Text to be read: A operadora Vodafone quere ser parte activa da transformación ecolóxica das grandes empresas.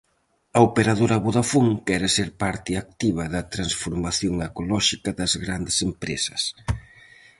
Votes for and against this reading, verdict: 4, 0, accepted